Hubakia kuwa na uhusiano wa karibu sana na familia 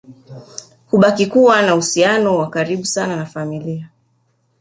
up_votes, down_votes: 2, 0